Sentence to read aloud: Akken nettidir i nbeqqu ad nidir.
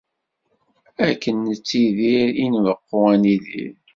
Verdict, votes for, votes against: accepted, 2, 0